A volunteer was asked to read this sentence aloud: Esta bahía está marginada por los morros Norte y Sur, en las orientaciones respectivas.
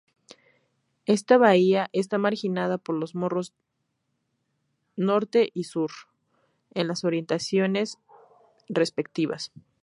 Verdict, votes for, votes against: rejected, 2, 2